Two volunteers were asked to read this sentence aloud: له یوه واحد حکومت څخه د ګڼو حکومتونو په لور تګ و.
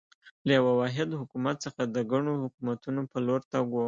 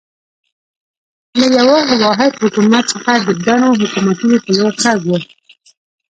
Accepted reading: first